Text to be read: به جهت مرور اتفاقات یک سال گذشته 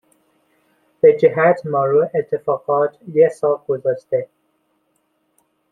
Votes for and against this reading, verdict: 0, 2, rejected